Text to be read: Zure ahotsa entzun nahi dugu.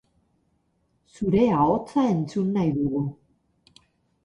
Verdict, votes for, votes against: accepted, 4, 0